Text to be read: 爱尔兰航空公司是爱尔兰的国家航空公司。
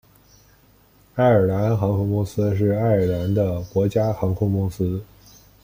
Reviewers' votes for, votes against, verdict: 2, 0, accepted